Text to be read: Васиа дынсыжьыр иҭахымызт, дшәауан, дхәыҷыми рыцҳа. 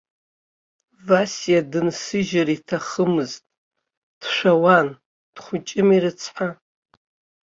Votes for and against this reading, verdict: 1, 2, rejected